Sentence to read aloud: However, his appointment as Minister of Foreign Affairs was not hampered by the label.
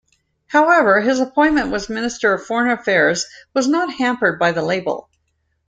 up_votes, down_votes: 1, 2